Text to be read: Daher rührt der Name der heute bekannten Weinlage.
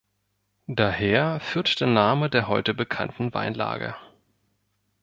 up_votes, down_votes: 1, 2